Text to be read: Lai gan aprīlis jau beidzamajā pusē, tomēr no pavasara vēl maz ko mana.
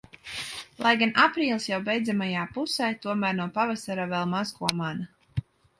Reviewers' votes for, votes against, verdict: 0, 2, rejected